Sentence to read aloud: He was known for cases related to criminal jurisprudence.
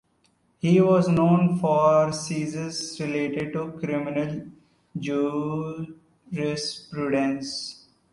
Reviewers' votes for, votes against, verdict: 0, 2, rejected